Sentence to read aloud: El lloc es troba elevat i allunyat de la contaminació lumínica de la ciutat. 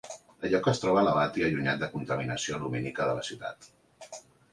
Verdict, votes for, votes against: rejected, 2, 3